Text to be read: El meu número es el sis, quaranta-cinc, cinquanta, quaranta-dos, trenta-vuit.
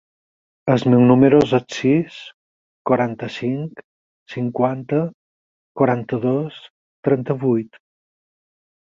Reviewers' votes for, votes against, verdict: 0, 4, rejected